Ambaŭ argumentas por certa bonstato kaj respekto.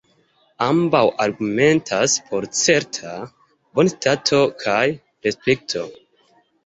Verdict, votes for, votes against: accepted, 2, 0